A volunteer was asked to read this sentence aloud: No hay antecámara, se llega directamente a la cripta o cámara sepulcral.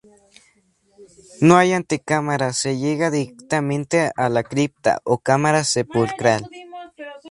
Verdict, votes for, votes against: accepted, 2, 0